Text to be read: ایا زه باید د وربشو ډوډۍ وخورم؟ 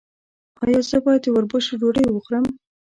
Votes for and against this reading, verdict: 2, 0, accepted